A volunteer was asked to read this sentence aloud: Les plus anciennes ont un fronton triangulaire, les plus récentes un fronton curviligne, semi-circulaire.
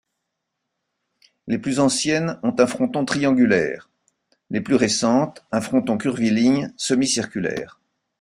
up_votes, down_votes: 2, 0